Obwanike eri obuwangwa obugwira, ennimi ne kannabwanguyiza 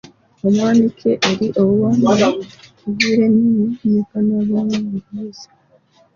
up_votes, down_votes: 0, 2